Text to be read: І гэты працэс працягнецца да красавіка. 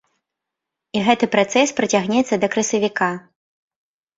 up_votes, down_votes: 1, 2